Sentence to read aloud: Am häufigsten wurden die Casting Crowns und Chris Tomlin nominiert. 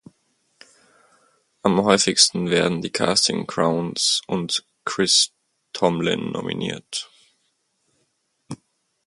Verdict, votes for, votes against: rejected, 0, 4